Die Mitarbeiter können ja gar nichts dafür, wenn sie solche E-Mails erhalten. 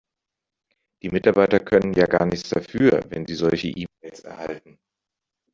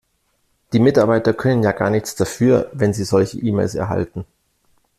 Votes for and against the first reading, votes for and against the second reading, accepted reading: 0, 2, 2, 0, second